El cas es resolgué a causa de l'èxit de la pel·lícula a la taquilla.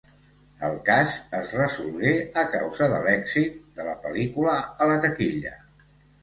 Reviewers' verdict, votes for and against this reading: accepted, 2, 0